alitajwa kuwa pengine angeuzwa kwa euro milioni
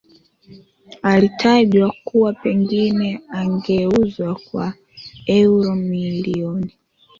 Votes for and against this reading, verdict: 0, 2, rejected